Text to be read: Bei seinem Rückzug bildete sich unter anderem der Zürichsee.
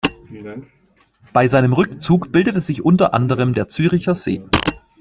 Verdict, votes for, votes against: rejected, 1, 2